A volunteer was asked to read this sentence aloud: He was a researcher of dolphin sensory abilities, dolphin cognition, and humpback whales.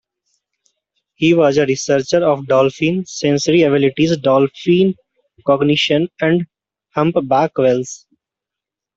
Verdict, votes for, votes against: accepted, 2, 0